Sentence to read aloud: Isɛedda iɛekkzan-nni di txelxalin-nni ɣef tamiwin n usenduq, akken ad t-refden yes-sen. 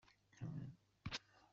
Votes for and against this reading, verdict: 0, 2, rejected